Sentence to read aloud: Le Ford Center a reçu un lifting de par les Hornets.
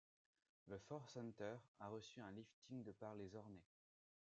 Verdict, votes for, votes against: rejected, 0, 2